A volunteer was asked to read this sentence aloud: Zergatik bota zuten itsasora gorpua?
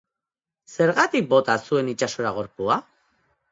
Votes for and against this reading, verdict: 1, 2, rejected